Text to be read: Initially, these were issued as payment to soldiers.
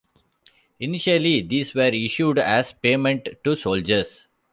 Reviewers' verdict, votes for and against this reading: accepted, 2, 0